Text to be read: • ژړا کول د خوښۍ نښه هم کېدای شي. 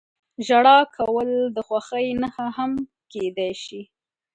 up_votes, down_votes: 2, 0